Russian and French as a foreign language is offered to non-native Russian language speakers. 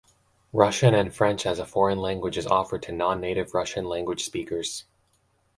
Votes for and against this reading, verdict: 2, 0, accepted